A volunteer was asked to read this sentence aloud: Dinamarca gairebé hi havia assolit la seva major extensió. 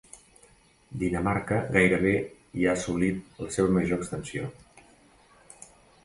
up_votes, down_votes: 0, 2